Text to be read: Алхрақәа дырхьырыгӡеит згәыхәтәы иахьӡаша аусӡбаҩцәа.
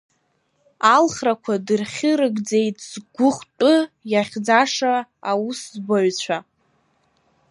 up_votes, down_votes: 1, 2